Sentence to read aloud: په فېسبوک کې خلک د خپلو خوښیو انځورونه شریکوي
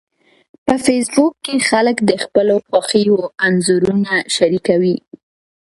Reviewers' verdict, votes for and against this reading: accepted, 2, 0